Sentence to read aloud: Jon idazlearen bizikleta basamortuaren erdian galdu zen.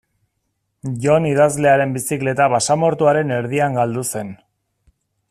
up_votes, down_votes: 2, 0